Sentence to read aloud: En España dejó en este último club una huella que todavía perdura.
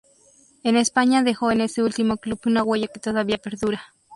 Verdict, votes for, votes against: rejected, 0, 2